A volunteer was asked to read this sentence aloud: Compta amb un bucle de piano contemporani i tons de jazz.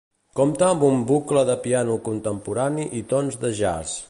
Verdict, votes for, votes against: accepted, 2, 0